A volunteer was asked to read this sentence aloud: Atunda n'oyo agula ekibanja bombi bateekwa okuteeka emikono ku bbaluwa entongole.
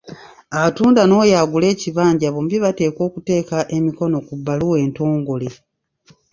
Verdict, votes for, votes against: accepted, 2, 0